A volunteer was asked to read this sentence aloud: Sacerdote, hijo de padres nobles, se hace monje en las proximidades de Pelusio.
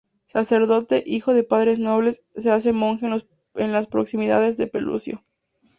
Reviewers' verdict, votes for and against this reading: accepted, 2, 0